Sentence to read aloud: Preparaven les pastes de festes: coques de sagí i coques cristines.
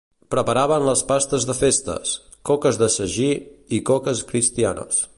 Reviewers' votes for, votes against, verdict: 0, 2, rejected